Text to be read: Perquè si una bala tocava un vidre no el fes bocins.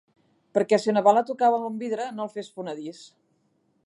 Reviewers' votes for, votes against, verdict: 1, 2, rejected